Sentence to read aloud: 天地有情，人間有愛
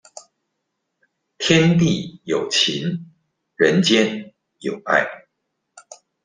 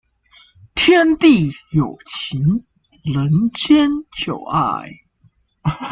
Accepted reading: first